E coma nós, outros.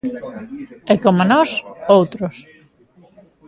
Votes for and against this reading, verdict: 2, 0, accepted